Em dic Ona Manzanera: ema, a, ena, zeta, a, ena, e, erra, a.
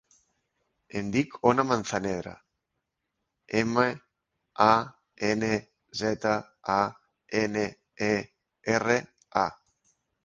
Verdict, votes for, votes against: rejected, 1, 3